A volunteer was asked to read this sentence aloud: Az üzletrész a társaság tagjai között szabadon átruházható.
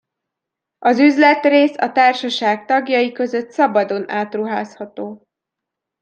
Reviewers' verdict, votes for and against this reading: accepted, 2, 0